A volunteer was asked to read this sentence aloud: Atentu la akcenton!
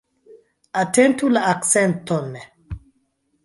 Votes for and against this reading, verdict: 0, 2, rejected